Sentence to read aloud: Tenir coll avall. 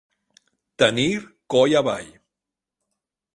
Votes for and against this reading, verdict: 1, 2, rejected